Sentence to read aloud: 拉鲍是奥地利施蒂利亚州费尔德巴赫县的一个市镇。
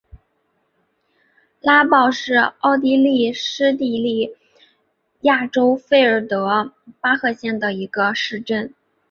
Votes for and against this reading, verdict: 0, 2, rejected